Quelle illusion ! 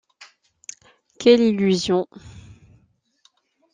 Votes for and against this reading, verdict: 2, 1, accepted